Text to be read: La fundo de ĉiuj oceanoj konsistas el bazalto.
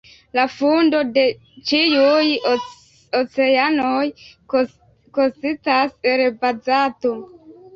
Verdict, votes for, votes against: rejected, 0, 2